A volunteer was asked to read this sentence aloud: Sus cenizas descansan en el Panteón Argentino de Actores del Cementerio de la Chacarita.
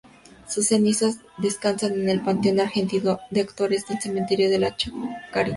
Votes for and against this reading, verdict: 0, 2, rejected